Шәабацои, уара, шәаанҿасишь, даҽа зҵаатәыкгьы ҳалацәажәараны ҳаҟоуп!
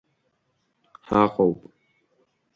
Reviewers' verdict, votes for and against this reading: rejected, 1, 2